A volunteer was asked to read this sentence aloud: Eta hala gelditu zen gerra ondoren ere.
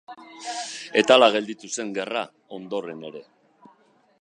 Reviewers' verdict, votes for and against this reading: rejected, 1, 2